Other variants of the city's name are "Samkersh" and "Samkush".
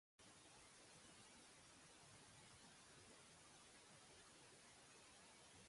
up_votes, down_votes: 0, 2